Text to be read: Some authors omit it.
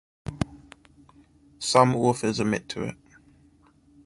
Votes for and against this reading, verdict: 0, 2, rejected